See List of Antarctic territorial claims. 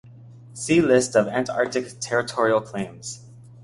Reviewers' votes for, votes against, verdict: 2, 0, accepted